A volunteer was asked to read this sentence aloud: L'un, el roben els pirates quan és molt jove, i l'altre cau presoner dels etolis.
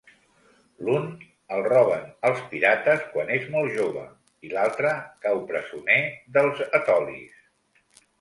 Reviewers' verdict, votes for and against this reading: accepted, 2, 0